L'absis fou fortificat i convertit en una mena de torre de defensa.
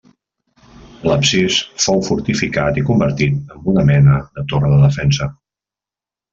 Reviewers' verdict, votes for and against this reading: accepted, 2, 0